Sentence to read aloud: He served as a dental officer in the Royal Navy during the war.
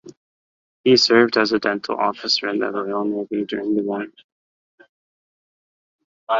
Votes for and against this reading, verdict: 1, 2, rejected